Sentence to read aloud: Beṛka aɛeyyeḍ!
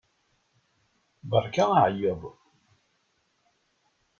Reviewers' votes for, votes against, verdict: 2, 0, accepted